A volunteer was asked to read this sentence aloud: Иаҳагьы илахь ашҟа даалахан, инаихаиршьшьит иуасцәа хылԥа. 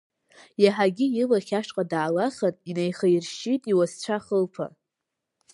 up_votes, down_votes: 4, 0